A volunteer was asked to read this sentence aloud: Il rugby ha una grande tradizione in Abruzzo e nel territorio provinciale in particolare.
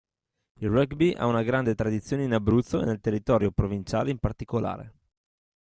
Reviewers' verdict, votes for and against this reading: rejected, 1, 2